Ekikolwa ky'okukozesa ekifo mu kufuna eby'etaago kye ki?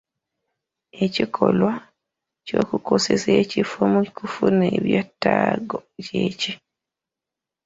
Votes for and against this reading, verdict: 0, 2, rejected